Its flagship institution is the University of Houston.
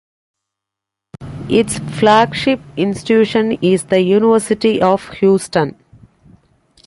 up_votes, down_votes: 2, 0